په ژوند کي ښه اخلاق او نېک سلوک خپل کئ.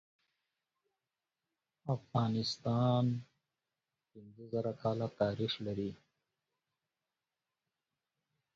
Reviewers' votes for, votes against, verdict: 0, 2, rejected